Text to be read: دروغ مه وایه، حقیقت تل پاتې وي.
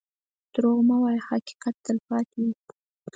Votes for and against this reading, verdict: 4, 0, accepted